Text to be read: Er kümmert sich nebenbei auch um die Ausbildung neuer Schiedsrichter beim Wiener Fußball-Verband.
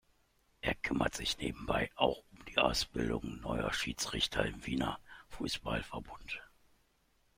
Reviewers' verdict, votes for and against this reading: rejected, 0, 2